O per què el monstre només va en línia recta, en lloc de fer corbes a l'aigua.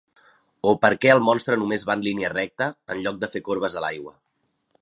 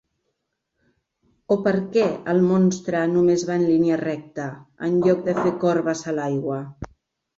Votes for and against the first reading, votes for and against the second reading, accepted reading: 3, 0, 1, 2, first